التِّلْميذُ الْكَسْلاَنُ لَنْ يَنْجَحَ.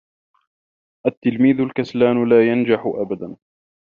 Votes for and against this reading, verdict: 1, 2, rejected